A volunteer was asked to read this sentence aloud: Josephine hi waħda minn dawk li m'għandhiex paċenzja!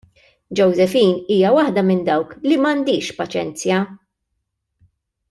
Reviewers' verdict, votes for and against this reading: rejected, 0, 2